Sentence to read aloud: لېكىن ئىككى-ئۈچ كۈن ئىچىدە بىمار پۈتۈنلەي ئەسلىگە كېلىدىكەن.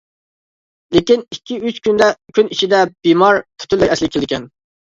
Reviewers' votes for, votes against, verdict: 0, 2, rejected